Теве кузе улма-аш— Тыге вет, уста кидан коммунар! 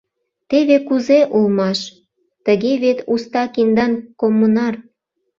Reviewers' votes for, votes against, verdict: 1, 2, rejected